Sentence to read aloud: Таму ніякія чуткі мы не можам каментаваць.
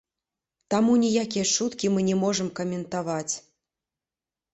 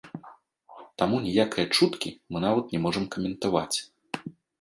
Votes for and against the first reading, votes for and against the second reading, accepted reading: 2, 0, 1, 2, first